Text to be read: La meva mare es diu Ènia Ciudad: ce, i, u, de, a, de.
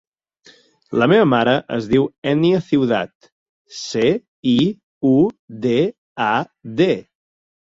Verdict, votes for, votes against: accepted, 4, 0